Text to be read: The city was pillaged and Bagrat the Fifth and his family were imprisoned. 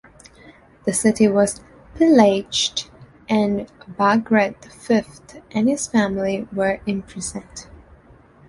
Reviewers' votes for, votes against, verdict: 2, 1, accepted